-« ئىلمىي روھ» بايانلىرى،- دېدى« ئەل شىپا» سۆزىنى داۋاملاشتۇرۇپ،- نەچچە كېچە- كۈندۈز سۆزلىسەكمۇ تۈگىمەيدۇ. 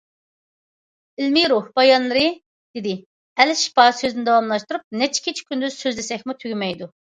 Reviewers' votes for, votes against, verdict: 2, 0, accepted